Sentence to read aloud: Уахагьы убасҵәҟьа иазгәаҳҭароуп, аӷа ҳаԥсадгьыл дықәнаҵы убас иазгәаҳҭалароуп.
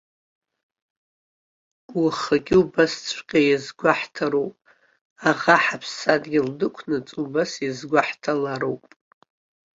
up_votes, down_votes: 2, 0